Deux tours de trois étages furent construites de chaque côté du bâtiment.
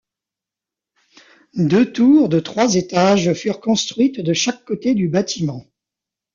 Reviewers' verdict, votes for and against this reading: rejected, 0, 2